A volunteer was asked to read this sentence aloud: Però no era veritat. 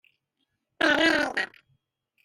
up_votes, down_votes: 0, 2